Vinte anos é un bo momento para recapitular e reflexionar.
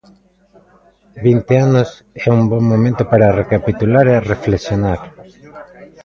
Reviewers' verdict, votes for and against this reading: rejected, 0, 2